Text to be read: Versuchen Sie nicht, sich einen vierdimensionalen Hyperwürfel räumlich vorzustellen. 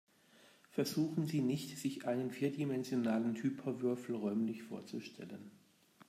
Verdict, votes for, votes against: accepted, 2, 0